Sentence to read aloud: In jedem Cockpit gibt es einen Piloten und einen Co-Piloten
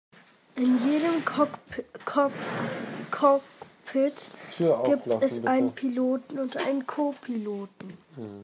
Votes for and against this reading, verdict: 1, 2, rejected